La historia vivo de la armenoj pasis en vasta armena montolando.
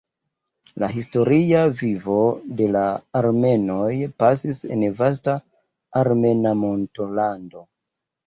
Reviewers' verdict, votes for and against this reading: accepted, 2, 0